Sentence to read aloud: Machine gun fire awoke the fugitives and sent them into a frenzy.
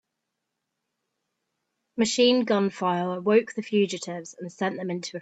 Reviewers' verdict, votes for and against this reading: rejected, 0, 2